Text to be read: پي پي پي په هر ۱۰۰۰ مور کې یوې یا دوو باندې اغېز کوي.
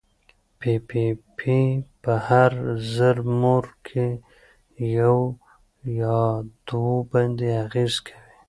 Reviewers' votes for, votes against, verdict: 0, 2, rejected